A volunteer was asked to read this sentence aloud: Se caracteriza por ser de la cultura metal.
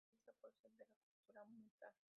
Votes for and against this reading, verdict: 0, 2, rejected